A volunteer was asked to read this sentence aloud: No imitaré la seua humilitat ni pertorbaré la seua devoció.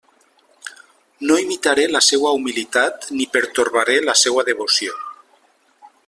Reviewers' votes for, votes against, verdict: 3, 0, accepted